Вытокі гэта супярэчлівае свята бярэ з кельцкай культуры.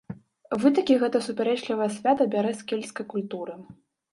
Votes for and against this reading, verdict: 1, 2, rejected